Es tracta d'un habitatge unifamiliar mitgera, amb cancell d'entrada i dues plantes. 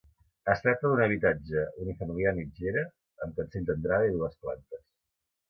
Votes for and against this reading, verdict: 2, 0, accepted